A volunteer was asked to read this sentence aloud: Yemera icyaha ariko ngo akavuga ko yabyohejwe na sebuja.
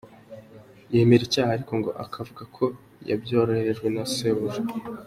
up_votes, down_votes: 2, 0